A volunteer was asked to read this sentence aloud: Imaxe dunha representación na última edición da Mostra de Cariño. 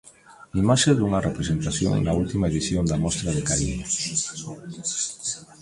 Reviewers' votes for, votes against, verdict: 0, 2, rejected